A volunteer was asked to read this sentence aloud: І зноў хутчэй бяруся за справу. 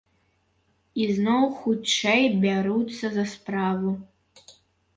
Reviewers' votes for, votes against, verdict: 2, 0, accepted